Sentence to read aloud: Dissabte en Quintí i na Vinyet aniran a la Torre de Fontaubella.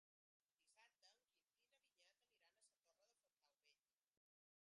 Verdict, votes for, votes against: rejected, 0, 2